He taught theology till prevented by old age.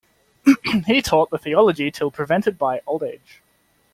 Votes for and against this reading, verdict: 1, 2, rejected